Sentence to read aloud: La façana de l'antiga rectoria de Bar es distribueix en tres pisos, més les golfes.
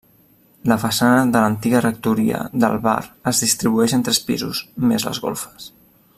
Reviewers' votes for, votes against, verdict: 0, 2, rejected